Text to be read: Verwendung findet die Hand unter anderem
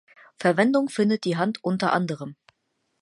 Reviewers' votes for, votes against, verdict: 6, 0, accepted